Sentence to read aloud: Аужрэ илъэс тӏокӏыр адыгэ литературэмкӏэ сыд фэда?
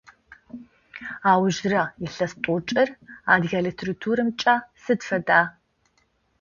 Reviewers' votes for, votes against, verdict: 2, 0, accepted